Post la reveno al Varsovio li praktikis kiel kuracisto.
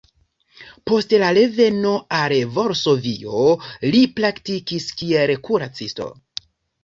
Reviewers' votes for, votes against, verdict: 2, 0, accepted